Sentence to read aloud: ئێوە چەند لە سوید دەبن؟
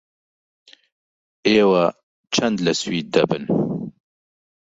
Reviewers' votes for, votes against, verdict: 1, 2, rejected